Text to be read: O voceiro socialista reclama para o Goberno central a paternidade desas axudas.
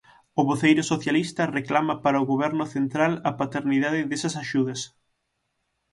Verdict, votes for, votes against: accepted, 6, 0